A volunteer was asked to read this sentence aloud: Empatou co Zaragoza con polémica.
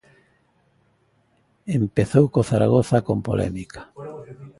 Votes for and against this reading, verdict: 0, 2, rejected